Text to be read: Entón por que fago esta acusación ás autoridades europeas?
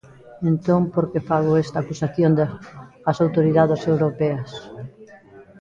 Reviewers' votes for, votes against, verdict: 1, 2, rejected